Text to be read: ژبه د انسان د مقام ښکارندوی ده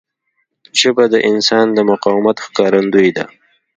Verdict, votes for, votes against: accepted, 2, 0